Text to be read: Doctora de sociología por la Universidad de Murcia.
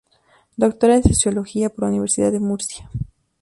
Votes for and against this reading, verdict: 2, 2, rejected